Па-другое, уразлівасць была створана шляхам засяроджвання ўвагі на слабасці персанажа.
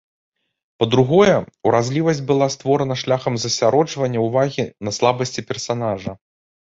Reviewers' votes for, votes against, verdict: 1, 2, rejected